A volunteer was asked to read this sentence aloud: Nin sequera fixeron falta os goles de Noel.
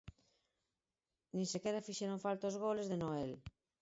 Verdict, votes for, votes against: accepted, 4, 0